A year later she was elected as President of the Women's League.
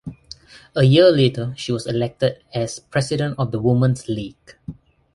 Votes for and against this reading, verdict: 2, 0, accepted